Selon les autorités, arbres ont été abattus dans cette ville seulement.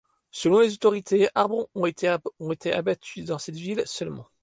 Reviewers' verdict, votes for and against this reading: rejected, 0, 2